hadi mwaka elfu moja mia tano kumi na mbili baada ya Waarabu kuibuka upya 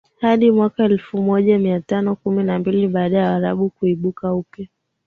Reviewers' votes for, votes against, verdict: 5, 5, rejected